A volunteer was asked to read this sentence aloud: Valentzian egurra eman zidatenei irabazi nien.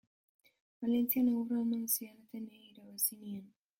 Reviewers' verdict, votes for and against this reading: rejected, 1, 3